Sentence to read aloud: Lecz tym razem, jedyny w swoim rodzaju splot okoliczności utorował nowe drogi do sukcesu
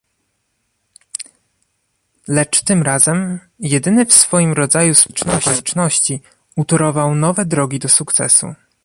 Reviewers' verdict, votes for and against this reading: rejected, 1, 2